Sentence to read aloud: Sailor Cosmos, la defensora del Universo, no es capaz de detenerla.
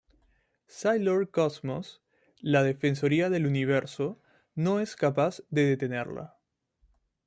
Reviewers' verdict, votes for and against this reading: rejected, 1, 2